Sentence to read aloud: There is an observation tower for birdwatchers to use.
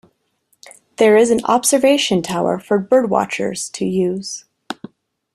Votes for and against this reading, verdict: 2, 0, accepted